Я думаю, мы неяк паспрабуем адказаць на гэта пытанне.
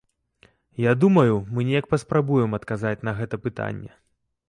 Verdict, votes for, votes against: accepted, 2, 0